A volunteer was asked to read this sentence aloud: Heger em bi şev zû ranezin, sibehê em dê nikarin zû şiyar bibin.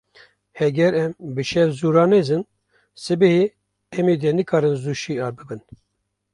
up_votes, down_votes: 2, 1